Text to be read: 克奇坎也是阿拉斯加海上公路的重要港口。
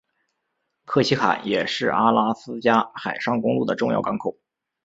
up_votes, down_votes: 4, 0